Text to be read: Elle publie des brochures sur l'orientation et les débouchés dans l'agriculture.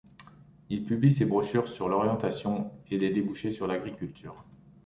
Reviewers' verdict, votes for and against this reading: rejected, 0, 2